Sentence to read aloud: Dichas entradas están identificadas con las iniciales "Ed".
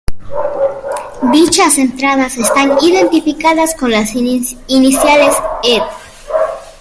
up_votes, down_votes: 0, 2